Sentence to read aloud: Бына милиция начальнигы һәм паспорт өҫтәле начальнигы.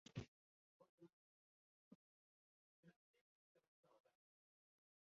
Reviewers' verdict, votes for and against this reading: rejected, 0, 2